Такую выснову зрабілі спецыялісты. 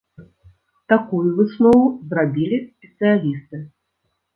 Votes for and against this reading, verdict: 1, 2, rejected